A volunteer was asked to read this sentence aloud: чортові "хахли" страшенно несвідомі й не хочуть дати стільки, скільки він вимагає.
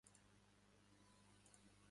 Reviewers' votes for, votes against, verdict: 0, 2, rejected